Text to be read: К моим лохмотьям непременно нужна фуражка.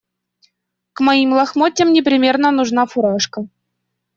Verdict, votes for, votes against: rejected, 1, 2